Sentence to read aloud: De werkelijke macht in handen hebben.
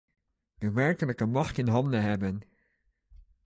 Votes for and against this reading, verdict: 2, 0, accepted